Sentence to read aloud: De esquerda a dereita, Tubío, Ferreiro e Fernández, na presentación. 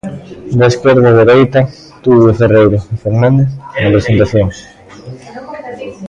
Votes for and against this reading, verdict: 0, 2, rejected